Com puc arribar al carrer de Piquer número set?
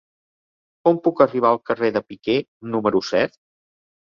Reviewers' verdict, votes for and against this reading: accepted, 2, 0